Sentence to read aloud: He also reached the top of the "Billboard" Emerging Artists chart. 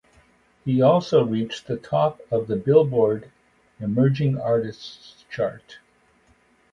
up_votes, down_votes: 2, 0